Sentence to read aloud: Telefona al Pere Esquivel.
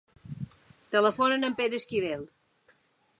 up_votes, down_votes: 1, 2